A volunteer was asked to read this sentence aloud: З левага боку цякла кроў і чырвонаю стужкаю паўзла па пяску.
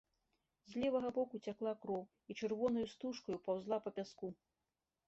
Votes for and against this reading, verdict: 2, 0, accepted